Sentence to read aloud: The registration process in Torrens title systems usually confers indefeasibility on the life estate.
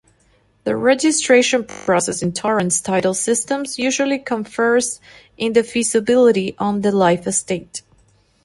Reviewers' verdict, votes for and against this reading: accepted, 2, 0